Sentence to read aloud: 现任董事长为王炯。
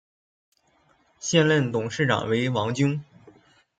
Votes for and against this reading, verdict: 0, 2, rejected